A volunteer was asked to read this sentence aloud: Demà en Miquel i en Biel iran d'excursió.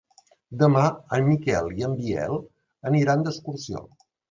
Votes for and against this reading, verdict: 0, 2, rejected